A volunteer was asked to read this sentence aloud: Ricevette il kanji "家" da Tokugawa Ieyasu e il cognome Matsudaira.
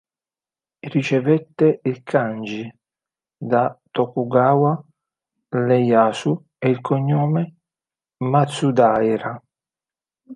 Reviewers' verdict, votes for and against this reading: accepted, 2, 1